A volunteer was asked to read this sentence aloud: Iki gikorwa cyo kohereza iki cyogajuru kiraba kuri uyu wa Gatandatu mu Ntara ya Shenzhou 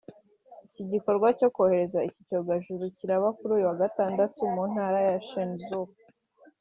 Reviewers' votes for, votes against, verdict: 2, 1, accepted